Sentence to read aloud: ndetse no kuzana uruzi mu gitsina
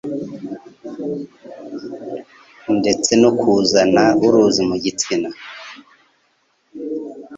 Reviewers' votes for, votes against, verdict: 2, 0, accepted